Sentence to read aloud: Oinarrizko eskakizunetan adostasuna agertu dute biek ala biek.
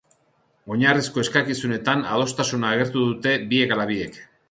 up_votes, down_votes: 5, 0